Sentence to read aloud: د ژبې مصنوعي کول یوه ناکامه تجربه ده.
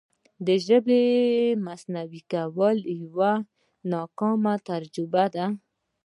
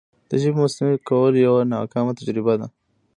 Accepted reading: second